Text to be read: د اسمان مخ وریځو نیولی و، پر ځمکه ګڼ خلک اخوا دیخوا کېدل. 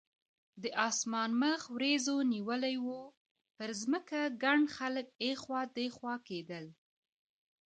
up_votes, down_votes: 2, 0